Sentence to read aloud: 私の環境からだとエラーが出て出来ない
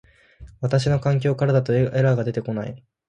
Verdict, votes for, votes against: rejected, 0, 2